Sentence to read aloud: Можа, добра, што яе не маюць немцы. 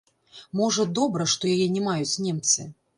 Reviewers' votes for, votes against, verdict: 1, 2, rejected